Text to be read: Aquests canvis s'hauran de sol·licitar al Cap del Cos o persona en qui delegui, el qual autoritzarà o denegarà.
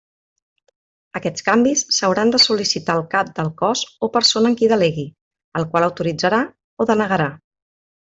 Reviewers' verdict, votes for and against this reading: accepted, 3, 0